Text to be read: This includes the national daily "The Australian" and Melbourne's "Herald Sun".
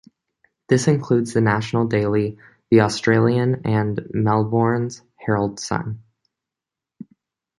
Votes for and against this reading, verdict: 2, 0, accepted